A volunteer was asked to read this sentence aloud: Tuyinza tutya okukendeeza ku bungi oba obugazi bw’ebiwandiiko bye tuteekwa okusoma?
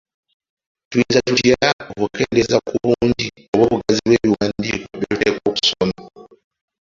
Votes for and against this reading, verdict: 0, 2, rejected